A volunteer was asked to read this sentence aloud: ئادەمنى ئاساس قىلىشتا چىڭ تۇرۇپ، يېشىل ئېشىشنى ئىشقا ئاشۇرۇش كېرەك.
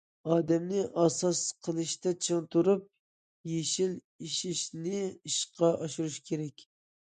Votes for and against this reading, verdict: 2, 0, accepted